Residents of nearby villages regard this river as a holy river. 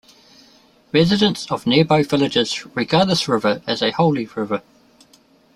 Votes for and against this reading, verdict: 2, 0, accepted